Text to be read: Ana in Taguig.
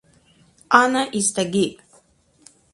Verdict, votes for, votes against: rejected, 0, 4